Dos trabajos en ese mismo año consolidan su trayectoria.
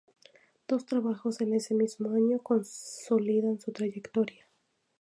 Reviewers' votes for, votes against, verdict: 2, 0, accepted